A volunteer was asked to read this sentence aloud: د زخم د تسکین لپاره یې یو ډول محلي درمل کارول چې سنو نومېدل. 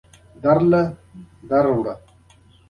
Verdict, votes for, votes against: accepted, 2, 1